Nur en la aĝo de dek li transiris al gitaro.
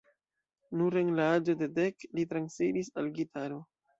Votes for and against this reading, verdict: 2, 1, accepted